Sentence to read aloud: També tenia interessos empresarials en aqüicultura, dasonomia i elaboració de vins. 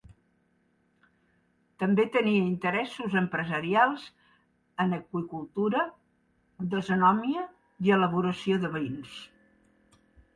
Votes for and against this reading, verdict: 2, 1, accepted